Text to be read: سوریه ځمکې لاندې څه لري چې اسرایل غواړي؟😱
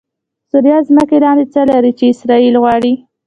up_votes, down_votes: 1, 2